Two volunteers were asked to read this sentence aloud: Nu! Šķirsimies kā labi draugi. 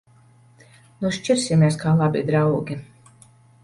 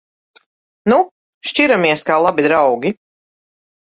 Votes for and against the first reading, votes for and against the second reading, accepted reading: 2, 0, 0, 2, first